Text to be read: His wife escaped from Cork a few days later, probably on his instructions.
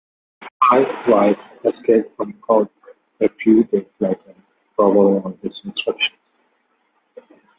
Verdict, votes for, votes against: rejected, 1, 2